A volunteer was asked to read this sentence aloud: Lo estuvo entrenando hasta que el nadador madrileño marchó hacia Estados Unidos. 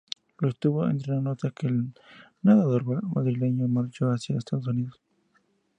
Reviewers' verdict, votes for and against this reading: accepted, 2, 0